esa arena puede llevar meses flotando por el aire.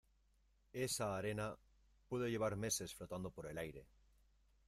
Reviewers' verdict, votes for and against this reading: accepted, 2, 0